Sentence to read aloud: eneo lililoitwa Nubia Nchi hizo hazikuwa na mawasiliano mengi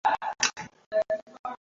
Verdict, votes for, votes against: rejected, 0, 2